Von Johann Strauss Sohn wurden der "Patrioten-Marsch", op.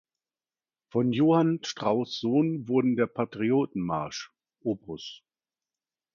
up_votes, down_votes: 2, 1